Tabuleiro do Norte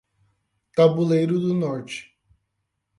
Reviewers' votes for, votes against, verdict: 0, 8, rejected